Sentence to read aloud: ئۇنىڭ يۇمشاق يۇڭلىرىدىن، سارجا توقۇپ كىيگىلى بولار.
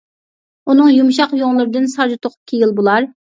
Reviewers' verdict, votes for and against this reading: rejected, 0, 2